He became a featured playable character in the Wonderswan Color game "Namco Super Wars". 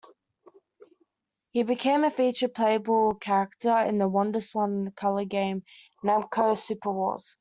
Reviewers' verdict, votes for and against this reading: accepted, 2, 0